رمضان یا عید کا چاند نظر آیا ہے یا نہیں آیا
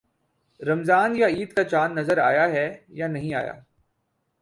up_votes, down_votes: 0, 2